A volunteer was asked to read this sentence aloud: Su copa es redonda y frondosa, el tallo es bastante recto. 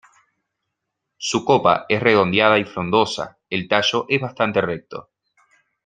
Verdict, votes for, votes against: rejected, 1, 2